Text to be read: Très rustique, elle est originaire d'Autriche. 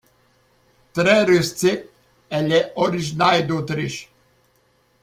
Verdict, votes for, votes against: accepted, 2, 0